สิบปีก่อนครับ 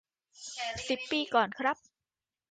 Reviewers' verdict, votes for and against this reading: rejected, 0, 2